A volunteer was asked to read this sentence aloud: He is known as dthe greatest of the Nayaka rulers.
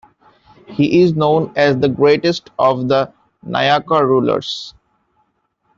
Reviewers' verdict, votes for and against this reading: accepted, 2, 1